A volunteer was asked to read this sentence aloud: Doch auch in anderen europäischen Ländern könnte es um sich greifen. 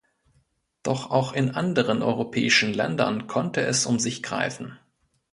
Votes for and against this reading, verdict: 0, 2, rejected